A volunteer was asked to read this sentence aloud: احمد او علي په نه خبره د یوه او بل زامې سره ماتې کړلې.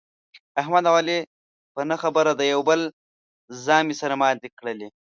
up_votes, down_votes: 2, 0